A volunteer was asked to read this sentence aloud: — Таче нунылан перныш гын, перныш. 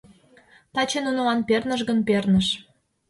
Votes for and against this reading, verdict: 2, 0, accepted